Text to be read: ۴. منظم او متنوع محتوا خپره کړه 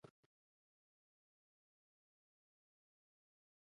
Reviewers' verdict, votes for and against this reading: rejected, 0, 2